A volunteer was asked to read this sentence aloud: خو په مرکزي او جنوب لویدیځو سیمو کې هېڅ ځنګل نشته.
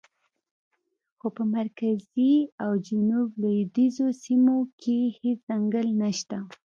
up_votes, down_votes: 2, 0